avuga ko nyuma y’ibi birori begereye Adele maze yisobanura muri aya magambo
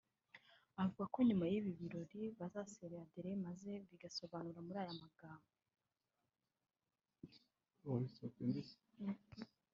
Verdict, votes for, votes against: rejected, 0, 2